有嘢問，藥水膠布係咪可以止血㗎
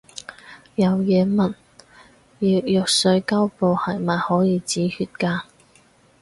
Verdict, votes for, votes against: rejected, 2, 2